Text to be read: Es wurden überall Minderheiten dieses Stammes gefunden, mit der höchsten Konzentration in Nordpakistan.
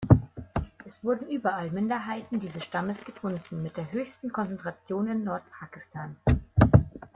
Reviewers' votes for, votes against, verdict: 2, 0, accepted